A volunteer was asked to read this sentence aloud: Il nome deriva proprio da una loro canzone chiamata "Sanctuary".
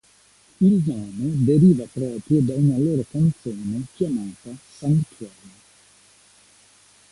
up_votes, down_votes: 1, 2